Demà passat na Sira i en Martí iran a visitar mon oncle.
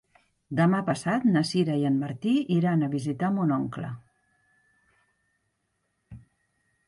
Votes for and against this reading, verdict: 3, 0, accepted